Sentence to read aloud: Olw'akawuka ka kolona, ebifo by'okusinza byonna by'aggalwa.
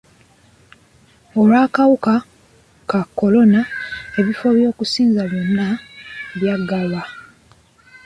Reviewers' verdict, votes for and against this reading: rejected, 1, 2